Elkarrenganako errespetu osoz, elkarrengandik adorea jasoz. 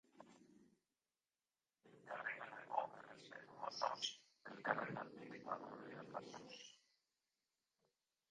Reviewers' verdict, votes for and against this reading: rejected, 0, 3